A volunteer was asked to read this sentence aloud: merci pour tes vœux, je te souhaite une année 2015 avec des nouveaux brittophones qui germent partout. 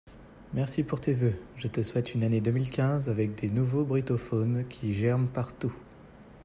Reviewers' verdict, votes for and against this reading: rejected, 0, 2